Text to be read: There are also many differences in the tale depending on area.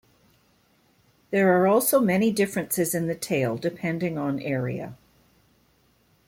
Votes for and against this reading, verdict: 2, 0, accepted